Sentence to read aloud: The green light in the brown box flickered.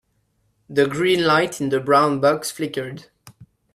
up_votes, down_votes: 2, 1